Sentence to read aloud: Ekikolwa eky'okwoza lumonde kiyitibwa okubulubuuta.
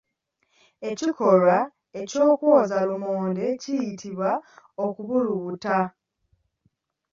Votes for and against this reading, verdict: 1, 2, rejected